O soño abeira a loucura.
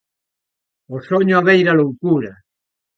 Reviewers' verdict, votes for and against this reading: accepted, 2, 0